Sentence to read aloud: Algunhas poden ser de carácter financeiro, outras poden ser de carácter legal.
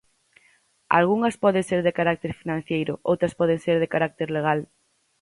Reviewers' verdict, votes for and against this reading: rejected, 0, 4